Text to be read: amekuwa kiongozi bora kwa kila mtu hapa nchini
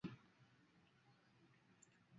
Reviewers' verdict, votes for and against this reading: rejected, 1, 2